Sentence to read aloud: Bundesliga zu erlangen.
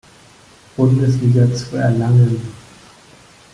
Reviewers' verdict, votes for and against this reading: accepted, 2, 0